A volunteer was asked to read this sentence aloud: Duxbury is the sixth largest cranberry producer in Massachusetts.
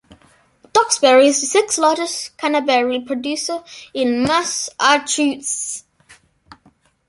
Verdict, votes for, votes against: rejected, 0, 2